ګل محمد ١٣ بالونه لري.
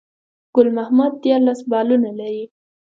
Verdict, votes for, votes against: rejected, 0, 2